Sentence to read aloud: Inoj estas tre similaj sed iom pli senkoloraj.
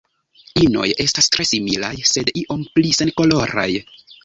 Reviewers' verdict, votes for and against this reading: rejected, 1, 2